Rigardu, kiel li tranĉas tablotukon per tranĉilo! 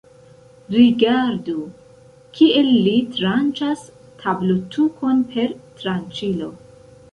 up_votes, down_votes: 0, 2